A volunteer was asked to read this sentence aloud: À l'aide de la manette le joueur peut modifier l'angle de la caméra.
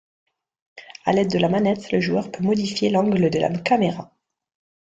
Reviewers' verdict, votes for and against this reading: accepted, 2, 0